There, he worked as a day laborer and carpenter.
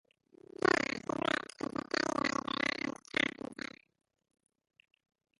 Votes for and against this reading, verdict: 0, 2, rejected